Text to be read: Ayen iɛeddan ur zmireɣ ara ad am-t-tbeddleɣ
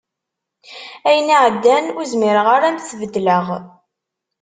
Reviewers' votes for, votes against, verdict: 2, 0, accepted